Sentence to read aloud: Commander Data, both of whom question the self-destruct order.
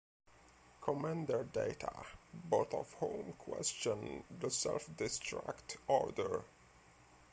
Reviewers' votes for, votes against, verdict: 0, 2, rejected